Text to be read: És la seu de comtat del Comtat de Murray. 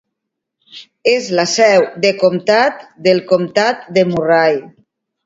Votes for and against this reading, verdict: 1, 2, rejected